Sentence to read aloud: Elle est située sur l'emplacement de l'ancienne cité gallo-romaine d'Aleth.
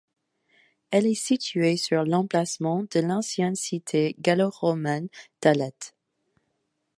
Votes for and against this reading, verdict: 2, 1, accepted